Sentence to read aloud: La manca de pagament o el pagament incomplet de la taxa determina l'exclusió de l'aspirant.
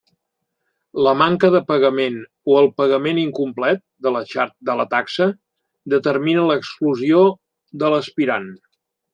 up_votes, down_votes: 0, 2